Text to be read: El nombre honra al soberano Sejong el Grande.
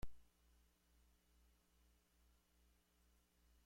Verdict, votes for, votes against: rejected, 0, 2